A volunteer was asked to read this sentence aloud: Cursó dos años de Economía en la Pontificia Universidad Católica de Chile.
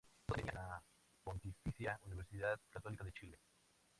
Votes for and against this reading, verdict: 0, 2, rejected